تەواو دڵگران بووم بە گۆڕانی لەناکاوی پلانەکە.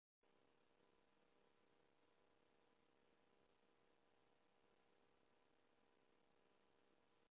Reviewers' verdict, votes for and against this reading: rejected, 0, 2